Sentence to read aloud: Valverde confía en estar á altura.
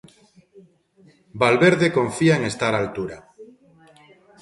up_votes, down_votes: 2, 0